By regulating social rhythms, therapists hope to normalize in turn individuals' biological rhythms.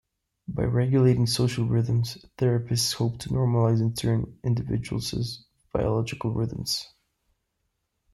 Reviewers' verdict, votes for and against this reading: rejected, 0, 2